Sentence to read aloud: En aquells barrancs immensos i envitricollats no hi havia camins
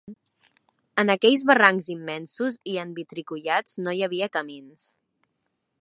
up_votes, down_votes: 2, 0